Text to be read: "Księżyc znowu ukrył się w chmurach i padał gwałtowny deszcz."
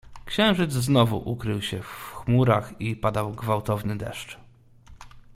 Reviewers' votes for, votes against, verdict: 2, 1, accepted